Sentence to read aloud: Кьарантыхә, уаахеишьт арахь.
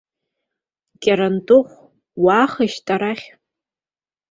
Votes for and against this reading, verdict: 2, 0, accepted